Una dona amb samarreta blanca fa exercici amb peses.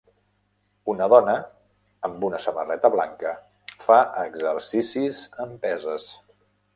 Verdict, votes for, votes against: rejected, 1, 2